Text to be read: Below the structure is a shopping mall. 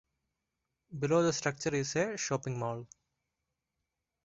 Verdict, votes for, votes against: accepted, 2, 0